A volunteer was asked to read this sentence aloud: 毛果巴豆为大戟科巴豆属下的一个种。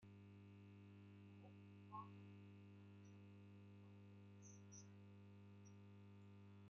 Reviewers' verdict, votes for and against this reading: rejected, 0, 2